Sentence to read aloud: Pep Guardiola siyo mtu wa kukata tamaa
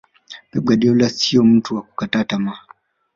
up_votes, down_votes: 4, 0